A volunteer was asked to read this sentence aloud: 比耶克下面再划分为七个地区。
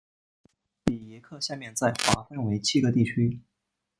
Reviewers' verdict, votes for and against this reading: rejected, 1, 2